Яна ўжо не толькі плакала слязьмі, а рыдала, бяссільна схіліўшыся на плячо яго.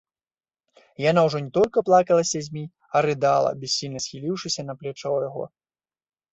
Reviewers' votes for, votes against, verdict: 1, 2, rejected